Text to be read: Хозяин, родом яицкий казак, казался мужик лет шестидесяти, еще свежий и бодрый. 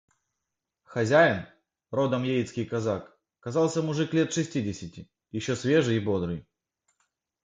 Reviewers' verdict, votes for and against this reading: accepted, 2, 0